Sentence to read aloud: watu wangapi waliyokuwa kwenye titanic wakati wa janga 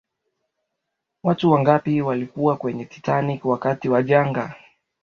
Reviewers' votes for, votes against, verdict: 2, 0, accepted